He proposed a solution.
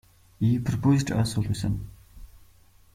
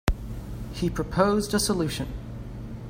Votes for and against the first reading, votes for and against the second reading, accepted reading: 1, 2, 2, 0, second